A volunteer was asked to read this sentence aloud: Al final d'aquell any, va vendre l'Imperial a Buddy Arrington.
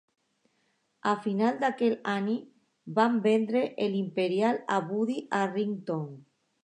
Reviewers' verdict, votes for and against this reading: rejected, 0, 2